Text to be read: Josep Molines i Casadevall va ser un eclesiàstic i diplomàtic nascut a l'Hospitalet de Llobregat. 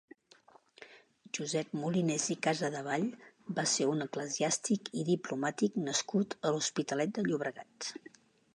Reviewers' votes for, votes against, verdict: 2, 0, accepted